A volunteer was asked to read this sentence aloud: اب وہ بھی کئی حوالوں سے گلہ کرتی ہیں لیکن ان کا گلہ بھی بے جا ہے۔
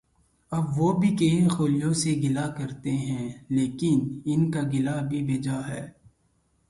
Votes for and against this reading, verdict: 0, 2, rejected